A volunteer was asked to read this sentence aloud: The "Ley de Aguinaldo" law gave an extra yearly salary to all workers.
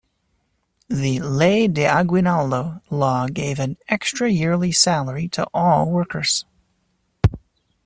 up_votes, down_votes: 2, 0